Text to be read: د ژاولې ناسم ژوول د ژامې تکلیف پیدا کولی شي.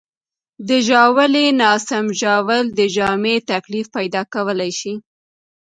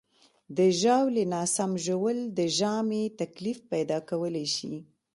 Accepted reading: second